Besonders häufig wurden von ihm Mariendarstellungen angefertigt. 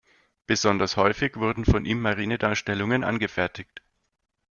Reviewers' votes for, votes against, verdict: 1, 2, rejected